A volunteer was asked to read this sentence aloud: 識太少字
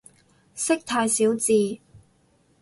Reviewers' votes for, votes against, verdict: 4, 0, accepted